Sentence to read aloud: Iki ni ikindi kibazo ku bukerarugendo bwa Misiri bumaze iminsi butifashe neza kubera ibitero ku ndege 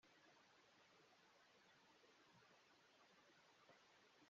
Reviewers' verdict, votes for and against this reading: rejected, 0, 2